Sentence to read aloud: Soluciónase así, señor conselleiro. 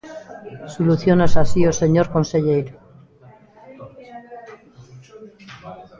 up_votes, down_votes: 2, 1